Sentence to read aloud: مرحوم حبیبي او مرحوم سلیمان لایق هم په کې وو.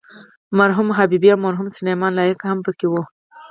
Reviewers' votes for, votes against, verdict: 4, 0, accepted